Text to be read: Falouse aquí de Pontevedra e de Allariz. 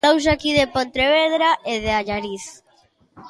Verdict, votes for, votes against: rejected, 1, 2